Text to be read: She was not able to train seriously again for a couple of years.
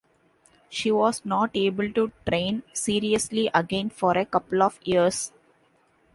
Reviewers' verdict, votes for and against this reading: accepted, 2, 0